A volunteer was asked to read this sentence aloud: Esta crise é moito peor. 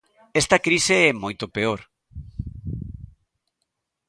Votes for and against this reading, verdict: 2, 0, accepted